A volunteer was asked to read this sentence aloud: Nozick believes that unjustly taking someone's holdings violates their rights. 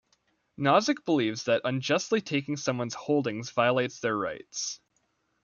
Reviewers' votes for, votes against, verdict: 2, 0, accepted